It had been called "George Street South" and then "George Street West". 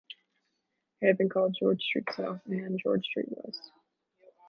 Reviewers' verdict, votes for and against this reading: rejected, 1, 2